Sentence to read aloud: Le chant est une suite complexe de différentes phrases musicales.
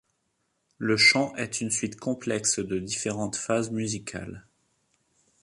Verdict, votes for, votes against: rejected, 0, 2